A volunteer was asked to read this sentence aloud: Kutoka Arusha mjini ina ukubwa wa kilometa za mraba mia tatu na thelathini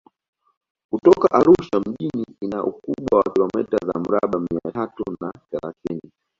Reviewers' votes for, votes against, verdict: 2, 1, accepted